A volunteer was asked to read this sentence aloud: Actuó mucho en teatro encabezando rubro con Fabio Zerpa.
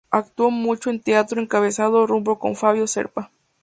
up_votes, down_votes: 0, 2